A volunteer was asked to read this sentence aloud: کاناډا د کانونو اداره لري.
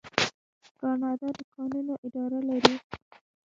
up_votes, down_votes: 2, 1